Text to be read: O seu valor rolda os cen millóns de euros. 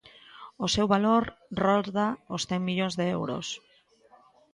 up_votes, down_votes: 3, 0